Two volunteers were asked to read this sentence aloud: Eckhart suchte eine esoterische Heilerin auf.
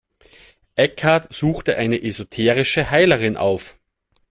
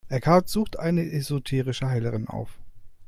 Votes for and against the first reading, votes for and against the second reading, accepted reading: 2, 0, 1, 2, first